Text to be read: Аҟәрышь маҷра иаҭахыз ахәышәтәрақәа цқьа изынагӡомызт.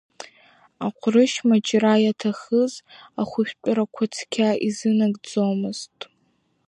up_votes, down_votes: 2, 1